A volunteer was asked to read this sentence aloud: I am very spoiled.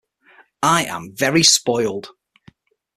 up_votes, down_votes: 6, 0